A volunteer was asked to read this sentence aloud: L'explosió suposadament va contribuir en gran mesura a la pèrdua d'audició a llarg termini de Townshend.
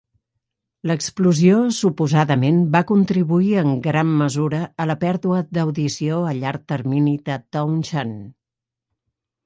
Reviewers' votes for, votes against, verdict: 4, 0, accepted